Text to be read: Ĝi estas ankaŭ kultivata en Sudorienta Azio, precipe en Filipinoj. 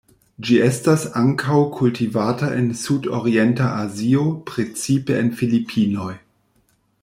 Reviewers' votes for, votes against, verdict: 1, 2, rejected